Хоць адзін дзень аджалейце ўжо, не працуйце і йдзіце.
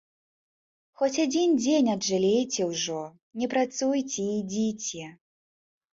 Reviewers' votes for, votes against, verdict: 3, 0, accepted